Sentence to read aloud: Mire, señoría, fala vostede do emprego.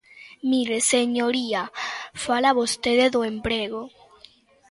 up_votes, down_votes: 1, 2